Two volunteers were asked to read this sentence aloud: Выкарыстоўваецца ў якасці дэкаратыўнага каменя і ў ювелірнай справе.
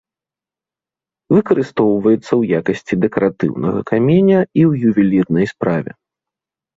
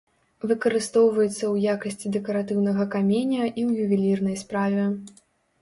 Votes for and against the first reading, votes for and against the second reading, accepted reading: 2, 1, 0, 2, first